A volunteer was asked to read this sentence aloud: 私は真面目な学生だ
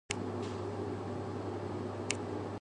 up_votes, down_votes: 1, 2